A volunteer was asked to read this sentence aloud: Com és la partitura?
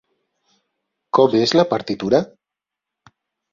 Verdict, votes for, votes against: accepted, 5, 0